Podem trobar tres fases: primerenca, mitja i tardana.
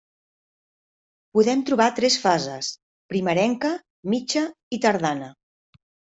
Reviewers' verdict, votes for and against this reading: accepted, 4, 1